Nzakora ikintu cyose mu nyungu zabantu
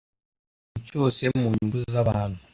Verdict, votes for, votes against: rejected, 0, 2